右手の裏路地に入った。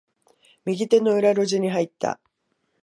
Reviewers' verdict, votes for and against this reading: accepted, 2, 0